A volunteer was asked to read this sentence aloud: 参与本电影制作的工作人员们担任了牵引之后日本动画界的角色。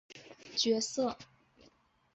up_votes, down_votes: 0, 3